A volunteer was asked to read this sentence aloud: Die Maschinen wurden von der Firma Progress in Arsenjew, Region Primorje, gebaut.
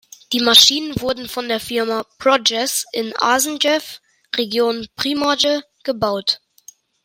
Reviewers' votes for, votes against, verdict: 0, 2, rejected